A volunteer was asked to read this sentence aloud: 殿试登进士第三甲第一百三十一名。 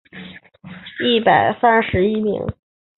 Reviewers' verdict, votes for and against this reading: rejected, 0, 5